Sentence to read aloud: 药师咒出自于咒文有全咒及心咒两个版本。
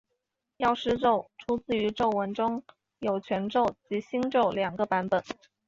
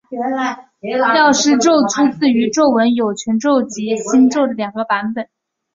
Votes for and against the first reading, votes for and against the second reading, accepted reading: 2, 0, 0, 2, first